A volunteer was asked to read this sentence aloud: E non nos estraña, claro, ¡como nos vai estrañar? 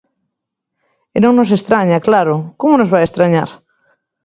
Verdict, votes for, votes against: accepted, 2, 0